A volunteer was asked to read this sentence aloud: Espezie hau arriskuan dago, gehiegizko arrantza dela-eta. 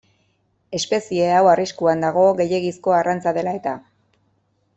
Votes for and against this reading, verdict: 2, 0, accepted